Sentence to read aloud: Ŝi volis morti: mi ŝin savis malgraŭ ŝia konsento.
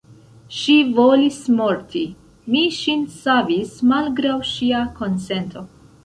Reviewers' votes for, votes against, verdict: 2, 0, accepted